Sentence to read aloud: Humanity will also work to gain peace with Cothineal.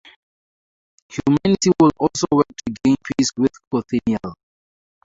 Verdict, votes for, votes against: rejected, 0, 2